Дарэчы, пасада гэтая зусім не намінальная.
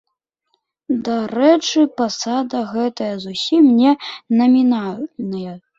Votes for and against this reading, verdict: 2, 0, accepted